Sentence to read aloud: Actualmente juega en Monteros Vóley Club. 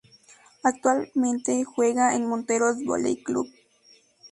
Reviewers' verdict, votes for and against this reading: accepted, 4, 0